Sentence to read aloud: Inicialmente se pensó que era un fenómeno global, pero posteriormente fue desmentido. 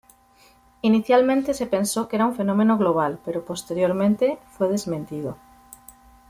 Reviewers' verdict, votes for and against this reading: accepted, 2, 1